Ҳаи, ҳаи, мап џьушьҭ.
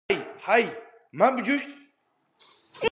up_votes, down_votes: 1, 2